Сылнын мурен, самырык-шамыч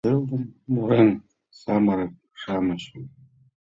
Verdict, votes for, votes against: rejected, 1, 2